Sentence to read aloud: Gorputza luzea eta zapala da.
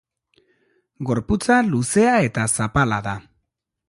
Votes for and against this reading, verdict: 2, 0, accepted